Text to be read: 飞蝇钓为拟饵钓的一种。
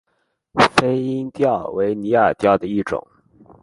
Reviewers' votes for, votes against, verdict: 3, 0, accepted